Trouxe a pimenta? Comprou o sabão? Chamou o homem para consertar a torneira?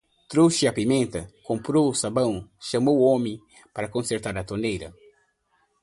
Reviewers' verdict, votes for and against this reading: accepted, 2, 0